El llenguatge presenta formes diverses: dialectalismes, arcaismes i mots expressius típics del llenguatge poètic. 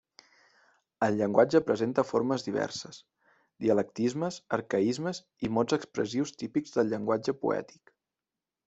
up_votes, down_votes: 2, 1